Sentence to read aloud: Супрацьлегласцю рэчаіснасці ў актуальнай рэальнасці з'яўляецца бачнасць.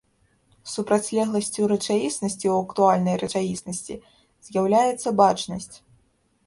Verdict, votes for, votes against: rejected, 0, 2